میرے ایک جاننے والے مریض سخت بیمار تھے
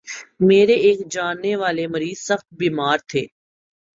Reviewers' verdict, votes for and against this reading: accepted, 2, 0